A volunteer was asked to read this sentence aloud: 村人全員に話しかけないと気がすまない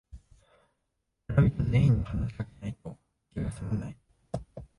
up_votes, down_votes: 0, 3